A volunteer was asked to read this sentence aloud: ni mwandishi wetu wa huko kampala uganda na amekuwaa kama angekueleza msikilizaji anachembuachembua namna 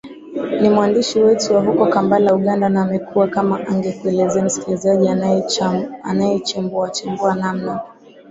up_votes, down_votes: 2, 1